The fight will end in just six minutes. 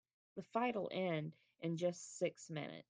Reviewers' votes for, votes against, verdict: 0, 2, rejected